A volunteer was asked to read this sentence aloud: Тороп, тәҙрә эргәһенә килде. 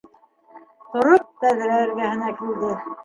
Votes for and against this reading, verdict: 2, 1, accepted